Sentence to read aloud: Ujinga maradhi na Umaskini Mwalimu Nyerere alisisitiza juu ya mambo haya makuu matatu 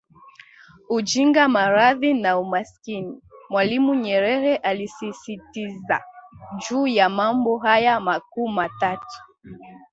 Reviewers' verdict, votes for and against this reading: rejected, 1, 2